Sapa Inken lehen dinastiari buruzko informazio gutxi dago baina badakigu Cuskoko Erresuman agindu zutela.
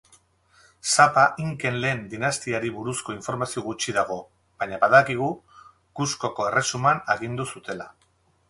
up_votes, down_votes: 4, 0